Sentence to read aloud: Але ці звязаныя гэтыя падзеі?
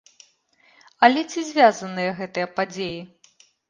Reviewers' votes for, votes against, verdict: 2, 0, accepted